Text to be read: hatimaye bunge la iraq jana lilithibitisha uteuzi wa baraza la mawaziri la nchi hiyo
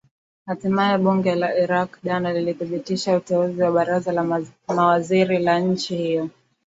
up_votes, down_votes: 2, 0